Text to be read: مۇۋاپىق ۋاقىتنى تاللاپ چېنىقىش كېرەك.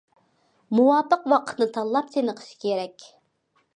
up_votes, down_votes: 2, 0